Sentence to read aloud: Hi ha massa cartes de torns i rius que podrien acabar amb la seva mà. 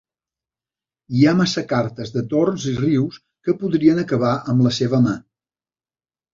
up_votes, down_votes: 3, 0